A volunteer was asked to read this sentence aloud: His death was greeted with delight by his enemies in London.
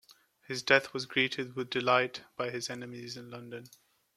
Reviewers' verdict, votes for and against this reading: accepted, 2, 0